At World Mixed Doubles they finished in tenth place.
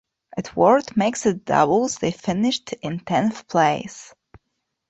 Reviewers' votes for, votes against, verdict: 1, 2, rejected